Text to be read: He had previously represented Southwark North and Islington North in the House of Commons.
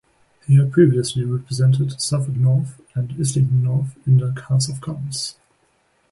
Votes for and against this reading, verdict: 2, 1, accepted